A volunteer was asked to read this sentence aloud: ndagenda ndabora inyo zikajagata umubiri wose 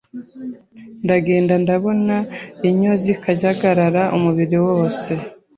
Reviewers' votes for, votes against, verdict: 0, 2, rejected